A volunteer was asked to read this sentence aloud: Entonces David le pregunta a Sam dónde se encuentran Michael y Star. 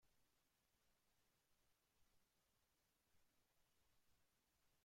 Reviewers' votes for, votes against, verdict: 0, 2, rejected